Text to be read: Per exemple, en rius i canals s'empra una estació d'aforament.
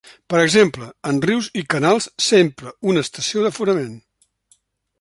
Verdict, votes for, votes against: accepted, 2, 0